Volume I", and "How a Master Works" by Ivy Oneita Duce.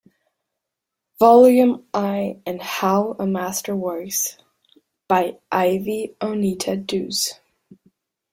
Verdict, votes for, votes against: rejected, 0, 2